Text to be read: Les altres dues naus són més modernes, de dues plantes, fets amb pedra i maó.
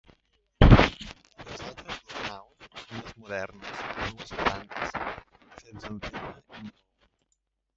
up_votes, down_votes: 0, 2